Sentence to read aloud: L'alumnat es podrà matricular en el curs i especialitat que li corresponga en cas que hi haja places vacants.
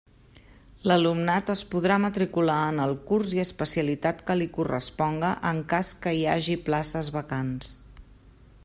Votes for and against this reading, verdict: 0, 2, rejected